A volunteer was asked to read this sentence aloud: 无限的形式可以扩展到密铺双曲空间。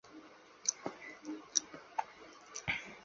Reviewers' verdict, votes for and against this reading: rejected, 0, 3